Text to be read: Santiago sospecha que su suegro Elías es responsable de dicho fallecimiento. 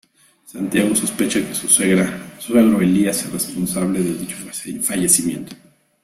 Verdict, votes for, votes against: rejected, 0, 2